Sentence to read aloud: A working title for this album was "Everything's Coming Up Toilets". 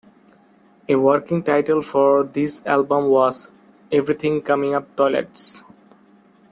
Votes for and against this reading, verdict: 0, 2, rejected